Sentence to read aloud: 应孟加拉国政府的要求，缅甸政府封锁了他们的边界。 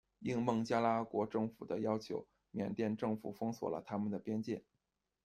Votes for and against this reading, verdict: 2, 0, accepted